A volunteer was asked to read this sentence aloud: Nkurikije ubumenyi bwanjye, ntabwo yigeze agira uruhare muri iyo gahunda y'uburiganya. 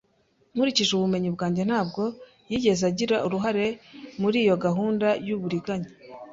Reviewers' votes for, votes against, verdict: 2, 0, accepted